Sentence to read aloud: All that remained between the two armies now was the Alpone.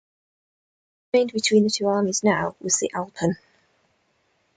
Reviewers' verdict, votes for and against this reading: rejected, 1, 2